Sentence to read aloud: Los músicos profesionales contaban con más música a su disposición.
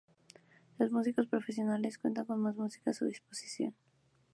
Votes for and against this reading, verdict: 0, 4, rejected